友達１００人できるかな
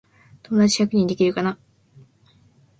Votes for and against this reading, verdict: 0, 2, rejected